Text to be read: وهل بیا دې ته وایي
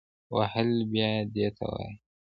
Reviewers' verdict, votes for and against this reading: accepted, 2, 0